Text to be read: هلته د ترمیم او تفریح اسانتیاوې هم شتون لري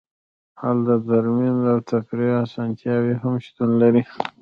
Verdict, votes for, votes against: rejected, 0, 2